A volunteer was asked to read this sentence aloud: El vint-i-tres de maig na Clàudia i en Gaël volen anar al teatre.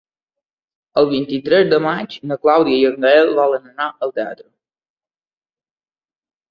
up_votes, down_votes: 2, 0